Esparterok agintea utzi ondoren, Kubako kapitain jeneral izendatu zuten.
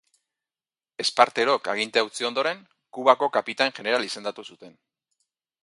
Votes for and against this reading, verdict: 0, 2, rejected